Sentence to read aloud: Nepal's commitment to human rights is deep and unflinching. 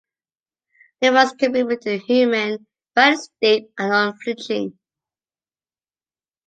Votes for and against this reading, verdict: 0, 2, rejected